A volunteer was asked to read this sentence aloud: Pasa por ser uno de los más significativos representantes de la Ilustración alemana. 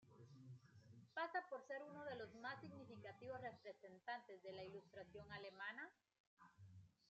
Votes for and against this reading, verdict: 2, 0, accepted